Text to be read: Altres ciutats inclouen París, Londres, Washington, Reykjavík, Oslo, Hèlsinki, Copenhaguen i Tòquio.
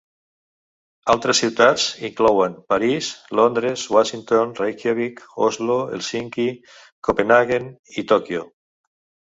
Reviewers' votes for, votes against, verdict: 1, 2, rejected